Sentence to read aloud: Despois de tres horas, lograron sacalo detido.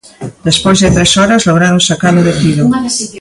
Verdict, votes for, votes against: rejected, 0, 2